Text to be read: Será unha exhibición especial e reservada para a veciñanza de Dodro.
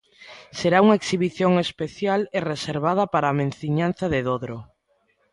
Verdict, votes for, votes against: rejected, 0, 2